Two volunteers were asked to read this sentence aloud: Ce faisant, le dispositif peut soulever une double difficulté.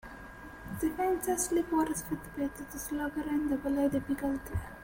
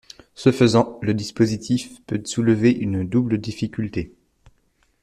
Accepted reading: second